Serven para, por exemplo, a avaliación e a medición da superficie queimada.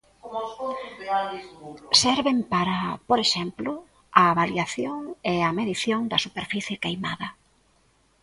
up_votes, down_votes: 0, 2